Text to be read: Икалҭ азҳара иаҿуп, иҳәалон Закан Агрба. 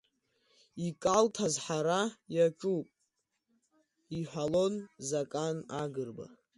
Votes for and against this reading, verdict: 2, 0, accepted